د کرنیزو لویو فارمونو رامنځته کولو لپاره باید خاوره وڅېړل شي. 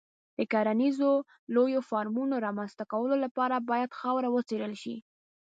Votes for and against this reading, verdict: 2, 0, accepted